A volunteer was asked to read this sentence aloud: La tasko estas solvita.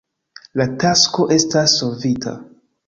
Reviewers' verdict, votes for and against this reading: accepted, 2, 0